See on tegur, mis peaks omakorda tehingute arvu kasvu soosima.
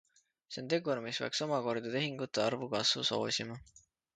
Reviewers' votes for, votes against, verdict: 2, 1, accepted